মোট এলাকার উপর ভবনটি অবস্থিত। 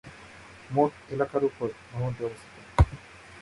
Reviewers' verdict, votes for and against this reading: rejected, 1, 2